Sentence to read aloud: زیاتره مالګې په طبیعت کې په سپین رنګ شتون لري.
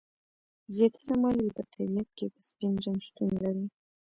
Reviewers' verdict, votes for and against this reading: accepted, 2, 0